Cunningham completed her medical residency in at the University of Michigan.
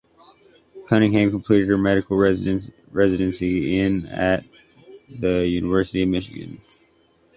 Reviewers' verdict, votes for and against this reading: rejected, 0, 2